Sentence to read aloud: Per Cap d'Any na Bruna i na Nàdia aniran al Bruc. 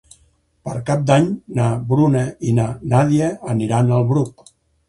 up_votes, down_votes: 8, 0